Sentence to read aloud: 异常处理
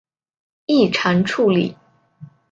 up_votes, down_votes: 3, 0